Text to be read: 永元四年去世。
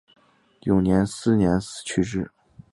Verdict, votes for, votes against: accepted, 2, 0